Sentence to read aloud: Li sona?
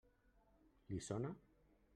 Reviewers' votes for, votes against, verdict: 1, 2, rejected